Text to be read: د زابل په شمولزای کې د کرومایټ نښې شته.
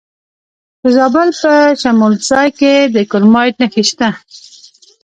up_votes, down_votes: 1, 2